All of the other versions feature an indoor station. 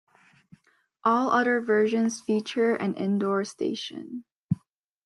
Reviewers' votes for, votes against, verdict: 0, 2, rejected